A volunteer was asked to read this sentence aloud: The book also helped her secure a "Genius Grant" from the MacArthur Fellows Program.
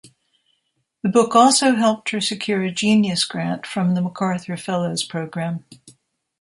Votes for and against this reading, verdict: 2, 0, accepted